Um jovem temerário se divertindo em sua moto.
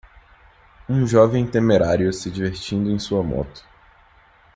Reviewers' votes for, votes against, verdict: 2, 0, accepted